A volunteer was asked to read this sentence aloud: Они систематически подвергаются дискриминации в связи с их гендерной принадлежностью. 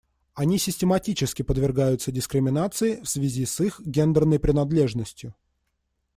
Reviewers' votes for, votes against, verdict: 2, 0, accepted